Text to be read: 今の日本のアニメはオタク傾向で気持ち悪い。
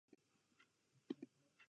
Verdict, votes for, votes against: rejected, 0, 2